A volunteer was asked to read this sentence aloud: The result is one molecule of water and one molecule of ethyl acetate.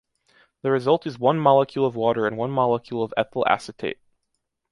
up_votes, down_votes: 2, 0